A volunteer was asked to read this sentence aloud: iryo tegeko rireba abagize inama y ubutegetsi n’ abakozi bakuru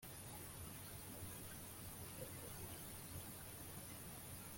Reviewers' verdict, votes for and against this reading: rejected, 0, 2